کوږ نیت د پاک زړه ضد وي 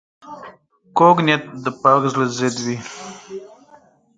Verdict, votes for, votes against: accepted, 4, 0